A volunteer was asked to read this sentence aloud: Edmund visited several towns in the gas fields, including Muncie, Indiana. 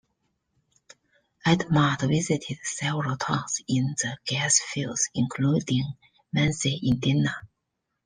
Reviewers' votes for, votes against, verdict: 0, 2, rejected